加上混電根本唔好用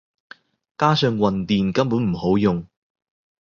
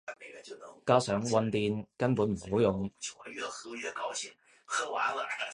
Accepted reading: first